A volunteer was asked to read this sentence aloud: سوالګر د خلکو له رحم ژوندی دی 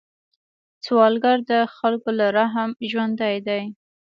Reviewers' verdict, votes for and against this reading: accepted, 2, 0